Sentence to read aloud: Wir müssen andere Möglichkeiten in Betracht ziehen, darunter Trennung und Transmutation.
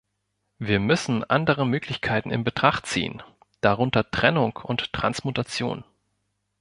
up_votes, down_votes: 2, 0